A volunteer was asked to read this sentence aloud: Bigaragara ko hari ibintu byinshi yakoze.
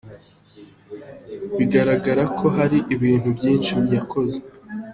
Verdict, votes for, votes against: accepted, 2, 0